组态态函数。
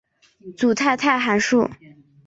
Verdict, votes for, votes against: accepted, 2, 0